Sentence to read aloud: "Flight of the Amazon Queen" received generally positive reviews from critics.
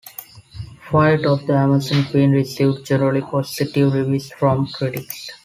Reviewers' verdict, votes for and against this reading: accepted, 2, 1